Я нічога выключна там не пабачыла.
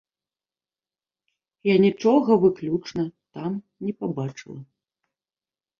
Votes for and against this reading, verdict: 2, 0, accepted